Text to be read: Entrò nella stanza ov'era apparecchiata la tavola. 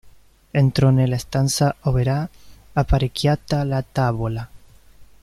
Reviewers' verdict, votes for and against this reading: rejected, 1, 2